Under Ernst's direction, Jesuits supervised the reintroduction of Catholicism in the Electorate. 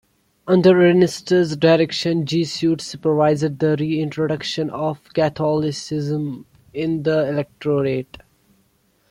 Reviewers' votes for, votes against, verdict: 1, 2, rejected